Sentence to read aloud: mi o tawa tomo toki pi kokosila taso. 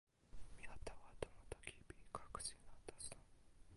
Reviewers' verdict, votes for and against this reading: rejected, 1, 2